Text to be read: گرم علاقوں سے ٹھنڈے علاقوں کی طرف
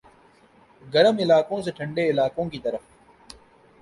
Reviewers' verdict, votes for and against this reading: accepted, 2, 0